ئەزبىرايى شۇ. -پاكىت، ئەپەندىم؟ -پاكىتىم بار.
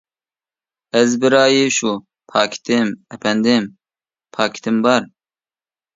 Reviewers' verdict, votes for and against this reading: rejected, 0, 2